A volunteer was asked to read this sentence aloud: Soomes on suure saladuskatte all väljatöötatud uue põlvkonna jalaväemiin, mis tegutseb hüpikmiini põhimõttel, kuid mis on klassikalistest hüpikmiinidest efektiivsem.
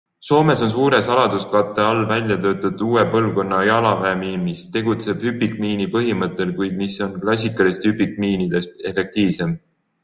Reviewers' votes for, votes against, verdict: 3, 0, accepted